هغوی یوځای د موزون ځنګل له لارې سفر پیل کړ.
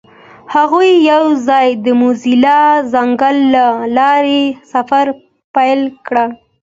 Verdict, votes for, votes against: accepted, 2, 0